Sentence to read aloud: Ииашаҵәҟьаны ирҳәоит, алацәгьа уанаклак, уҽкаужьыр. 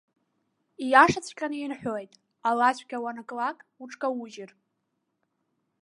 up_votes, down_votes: 2, 0